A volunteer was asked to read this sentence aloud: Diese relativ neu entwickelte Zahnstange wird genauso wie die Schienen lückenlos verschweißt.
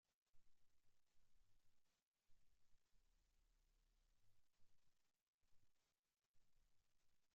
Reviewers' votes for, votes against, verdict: 0, 2, rejected